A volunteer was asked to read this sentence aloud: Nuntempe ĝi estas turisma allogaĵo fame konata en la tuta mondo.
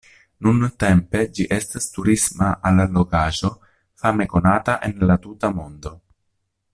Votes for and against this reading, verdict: 1, 2, rejected